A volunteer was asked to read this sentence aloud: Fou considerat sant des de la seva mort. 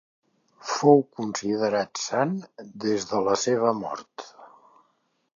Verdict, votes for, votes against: accepted, 2, 0